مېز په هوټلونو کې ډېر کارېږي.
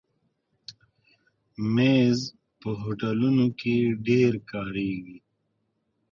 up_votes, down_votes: 2, 1